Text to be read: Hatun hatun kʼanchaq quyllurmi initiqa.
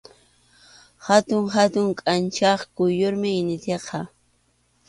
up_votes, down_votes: 2, 0